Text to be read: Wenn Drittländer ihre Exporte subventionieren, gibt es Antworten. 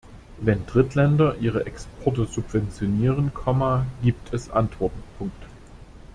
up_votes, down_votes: 1, 2